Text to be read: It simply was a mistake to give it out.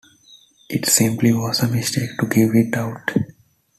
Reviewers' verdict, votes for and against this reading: accepted, 2, 0